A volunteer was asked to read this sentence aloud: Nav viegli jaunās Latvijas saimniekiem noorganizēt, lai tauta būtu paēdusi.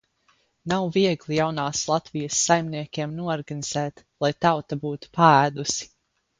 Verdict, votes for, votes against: accepted, 4, 0